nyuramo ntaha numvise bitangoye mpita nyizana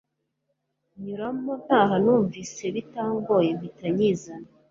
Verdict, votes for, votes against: accepted, 2, 0